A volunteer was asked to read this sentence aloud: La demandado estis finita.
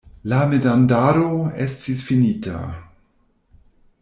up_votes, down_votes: 1, 2